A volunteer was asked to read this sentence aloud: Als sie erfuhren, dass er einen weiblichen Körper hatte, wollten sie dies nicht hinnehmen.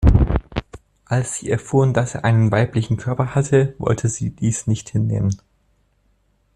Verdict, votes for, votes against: rejected, 0, 2